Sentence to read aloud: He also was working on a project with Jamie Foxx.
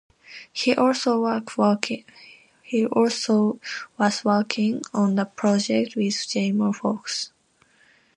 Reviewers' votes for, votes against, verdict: 0, 2, rejected